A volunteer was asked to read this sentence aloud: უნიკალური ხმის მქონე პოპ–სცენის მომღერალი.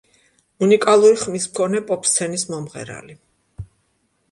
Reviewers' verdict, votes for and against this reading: accepted, 2, 0